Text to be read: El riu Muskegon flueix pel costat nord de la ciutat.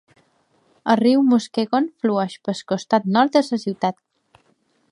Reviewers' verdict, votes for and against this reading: rejected, 0, 2